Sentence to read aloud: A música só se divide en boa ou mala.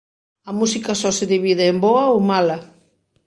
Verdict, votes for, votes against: accepted, 2, 0